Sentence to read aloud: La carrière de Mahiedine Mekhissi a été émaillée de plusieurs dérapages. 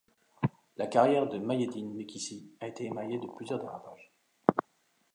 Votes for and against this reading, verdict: 0, 2, rejected